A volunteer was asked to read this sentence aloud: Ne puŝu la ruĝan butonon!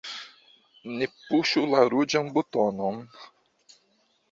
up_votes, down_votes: 2, 1